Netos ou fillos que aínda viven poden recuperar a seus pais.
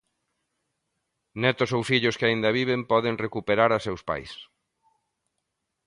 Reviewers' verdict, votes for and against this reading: accepted, 2, 0